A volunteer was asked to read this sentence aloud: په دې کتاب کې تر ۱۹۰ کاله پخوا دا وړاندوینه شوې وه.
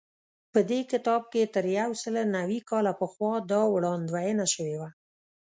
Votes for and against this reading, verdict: 0, 2, rejected